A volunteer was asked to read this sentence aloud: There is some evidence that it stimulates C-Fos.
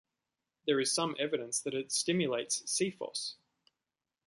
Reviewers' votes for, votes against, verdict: 2, 0, accepted